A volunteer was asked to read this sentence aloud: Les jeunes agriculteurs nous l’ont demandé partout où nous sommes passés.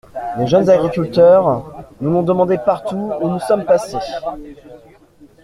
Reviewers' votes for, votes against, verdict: 2, 0, accepted